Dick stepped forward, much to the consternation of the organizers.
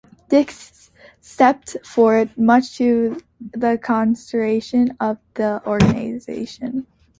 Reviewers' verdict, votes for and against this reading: rejected, 0, 2